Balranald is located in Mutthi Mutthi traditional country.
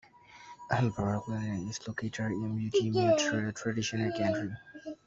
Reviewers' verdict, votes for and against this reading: rejected, 0, 2